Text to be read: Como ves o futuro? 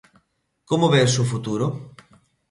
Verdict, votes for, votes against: accepted, 2, 0